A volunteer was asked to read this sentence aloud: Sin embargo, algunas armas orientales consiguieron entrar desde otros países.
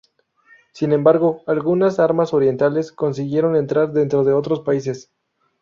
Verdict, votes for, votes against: accepted, 2, 0